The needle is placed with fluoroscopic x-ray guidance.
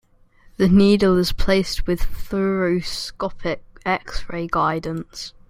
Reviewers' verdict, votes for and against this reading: rejected, 1, 2